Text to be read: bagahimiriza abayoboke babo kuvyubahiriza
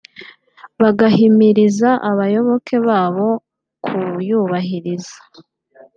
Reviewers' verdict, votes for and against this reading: rejected, 0, 2